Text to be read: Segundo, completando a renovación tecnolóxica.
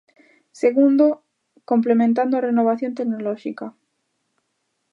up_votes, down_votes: 1, 2